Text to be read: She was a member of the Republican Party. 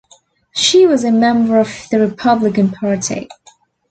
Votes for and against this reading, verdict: 2, 0, accepted